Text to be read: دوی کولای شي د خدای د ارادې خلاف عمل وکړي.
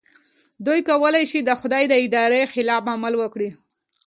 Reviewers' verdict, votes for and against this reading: rejected, 1, 2